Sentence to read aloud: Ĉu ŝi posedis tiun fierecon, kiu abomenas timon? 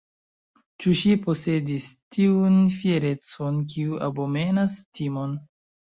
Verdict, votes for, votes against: rejected, 0, 2